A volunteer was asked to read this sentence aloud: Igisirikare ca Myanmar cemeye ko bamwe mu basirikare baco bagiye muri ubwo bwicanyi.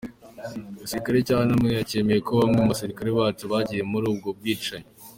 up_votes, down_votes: 3, 1